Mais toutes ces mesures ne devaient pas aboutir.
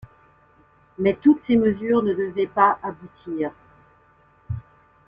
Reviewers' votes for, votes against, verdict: 1, 2, rejected